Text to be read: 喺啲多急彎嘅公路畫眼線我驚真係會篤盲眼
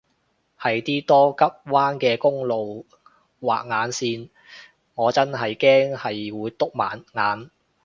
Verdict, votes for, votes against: rejected, 1, 2